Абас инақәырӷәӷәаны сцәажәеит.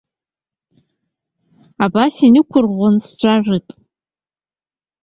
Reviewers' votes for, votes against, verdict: 0, 2, rejected